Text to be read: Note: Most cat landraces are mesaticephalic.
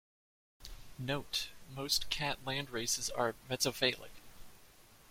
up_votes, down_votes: 0, 2